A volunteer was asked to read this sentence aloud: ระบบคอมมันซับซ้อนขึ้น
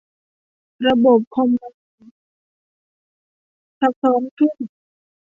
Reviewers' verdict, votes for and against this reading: rejected, 0, 2